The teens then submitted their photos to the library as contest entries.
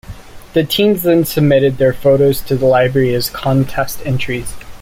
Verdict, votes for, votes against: accepted, 2, 0